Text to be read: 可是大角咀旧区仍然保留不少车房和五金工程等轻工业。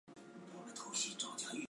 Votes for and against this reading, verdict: 0, 5, rejected